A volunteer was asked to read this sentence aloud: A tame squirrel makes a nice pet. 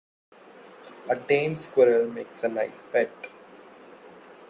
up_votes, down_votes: 2, 0